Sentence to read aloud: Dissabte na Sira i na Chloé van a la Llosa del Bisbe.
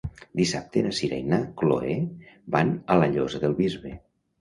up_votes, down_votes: 1, 2